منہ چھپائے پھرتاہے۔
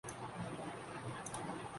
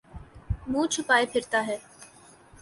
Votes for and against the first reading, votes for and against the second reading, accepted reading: 1, 4, 2, 0, second